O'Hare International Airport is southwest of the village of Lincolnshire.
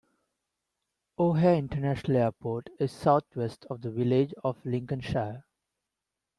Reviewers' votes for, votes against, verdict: 1, 2, rejected